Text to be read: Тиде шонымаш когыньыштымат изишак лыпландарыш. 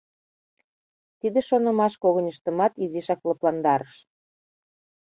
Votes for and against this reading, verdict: 2, 0, accepted